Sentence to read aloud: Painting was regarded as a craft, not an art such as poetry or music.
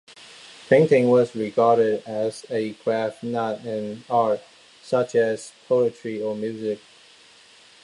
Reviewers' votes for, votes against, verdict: 2, 0, accepted